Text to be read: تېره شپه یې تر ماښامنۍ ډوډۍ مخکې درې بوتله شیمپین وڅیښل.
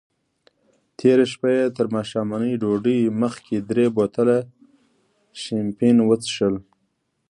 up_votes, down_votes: 2, 0